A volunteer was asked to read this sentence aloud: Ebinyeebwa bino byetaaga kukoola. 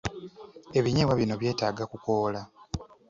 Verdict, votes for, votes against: accepted, 2, 0